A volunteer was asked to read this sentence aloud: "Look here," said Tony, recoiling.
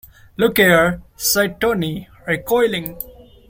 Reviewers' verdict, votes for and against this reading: rejected, 0, 2